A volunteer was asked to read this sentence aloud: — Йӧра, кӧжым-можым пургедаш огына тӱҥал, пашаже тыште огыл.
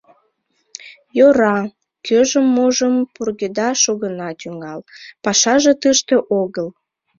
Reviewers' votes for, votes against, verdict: 2, 0, accepted